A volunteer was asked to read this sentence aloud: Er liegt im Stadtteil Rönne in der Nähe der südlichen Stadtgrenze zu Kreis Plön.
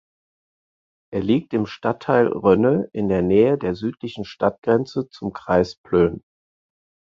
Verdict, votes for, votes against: accepted, 4, 0